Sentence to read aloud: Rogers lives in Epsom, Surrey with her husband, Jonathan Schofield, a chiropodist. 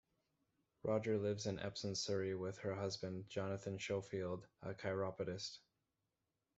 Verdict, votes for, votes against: rejected, 1, 2